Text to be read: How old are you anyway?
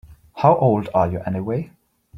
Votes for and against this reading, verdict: 2, 1, accepted